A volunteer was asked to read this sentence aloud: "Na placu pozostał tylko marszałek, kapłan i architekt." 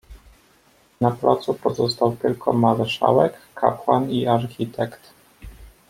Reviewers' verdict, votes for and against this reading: accepted, 2, 0